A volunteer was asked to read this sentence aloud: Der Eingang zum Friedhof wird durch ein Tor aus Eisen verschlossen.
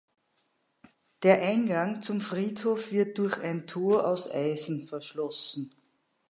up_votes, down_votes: 2, 0